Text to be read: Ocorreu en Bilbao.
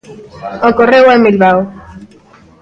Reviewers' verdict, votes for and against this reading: accepted, 2, 0